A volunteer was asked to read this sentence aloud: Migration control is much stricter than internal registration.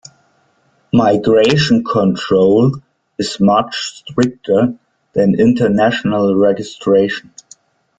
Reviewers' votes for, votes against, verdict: 0, 2, rejected